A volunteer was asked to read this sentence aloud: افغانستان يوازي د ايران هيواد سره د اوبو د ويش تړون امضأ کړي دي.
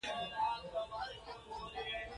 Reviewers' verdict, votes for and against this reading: accepted, 2, 0